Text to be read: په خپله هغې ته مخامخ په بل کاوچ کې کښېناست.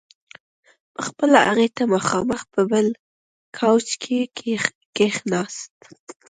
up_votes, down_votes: 1, 2